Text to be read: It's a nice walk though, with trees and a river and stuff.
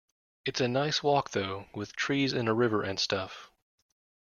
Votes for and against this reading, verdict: 2, 0, accepted